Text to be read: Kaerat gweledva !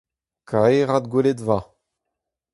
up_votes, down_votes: 4, 0